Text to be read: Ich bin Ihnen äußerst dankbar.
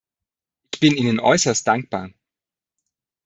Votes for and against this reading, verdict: 0, 2, rejected